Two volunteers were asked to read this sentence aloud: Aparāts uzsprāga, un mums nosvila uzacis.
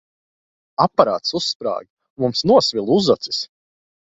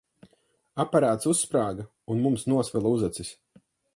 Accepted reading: second